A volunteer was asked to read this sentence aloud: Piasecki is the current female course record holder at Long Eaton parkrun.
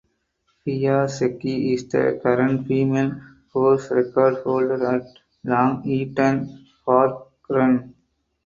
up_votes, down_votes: 0, 4